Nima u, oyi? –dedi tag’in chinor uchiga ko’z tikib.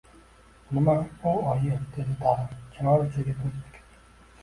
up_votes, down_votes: 0, 2